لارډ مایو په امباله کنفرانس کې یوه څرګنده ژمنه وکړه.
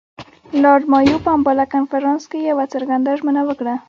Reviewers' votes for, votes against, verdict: 2, 0, accepted